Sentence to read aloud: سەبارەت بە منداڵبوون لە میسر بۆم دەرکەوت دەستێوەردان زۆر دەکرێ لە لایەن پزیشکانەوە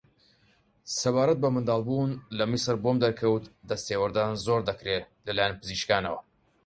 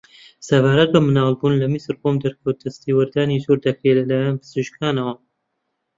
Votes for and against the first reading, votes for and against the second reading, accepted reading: 6, 0, 0, 2, first